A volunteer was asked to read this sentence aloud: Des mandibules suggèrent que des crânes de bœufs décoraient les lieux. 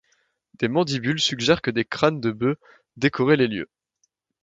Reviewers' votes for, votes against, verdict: 2, 0, accepted